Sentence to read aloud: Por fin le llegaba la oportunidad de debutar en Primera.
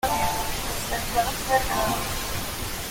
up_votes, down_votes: 0, 2